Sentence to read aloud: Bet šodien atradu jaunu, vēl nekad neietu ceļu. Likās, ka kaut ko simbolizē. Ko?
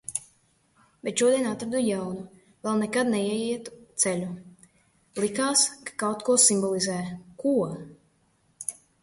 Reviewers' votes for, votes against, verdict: 2, 1, accepted